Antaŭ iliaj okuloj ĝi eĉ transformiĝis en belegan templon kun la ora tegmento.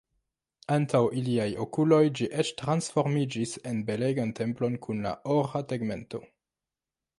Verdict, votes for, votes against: rejected, 1, 2